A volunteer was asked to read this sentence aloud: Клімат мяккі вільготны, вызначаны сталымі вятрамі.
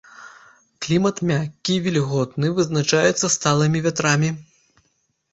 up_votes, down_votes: 0, 3